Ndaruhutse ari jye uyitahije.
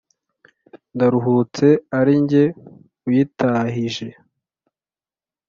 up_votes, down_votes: 2, 0